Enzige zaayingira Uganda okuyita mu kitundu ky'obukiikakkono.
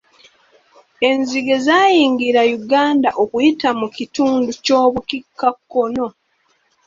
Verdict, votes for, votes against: accepted, 3, 0